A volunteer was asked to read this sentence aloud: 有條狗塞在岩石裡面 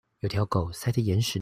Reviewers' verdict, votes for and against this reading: rejected, 0, 2